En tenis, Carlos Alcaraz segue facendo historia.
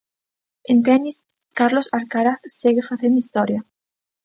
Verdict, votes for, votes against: accepted, 2, 0